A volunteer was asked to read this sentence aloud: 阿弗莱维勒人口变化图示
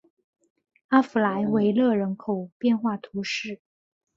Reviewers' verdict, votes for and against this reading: accepted, 4, 0